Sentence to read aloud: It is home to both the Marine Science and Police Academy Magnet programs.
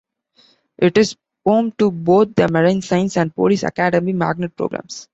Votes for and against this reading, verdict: 2, 1, accepted